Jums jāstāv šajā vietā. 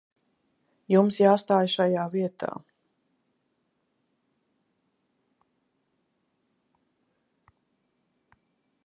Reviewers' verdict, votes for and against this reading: rejected, 0, 2